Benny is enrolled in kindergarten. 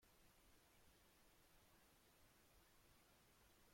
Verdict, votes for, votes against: rejected, 0, 2